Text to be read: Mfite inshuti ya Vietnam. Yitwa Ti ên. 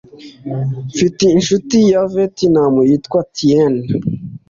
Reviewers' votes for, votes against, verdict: 2, 0, accepted